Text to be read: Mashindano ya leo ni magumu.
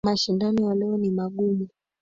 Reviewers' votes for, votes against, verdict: 3, 2, accepted